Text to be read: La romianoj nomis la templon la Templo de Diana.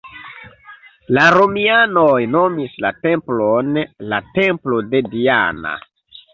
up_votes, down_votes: 2, 0